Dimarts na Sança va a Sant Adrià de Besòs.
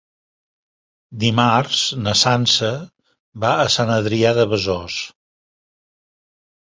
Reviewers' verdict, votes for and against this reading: accepted, 3, 1